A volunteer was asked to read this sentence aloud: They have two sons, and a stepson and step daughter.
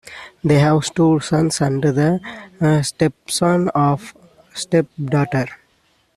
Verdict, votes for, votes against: rejected, 1, 2